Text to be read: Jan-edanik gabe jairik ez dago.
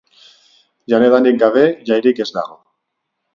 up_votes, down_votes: 4, 0